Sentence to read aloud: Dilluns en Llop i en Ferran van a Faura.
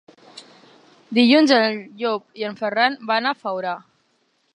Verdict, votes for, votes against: rejected, 1, 2